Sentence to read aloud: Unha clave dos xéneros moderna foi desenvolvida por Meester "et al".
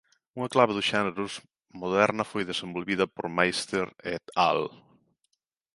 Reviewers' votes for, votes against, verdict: 0, 2, rejected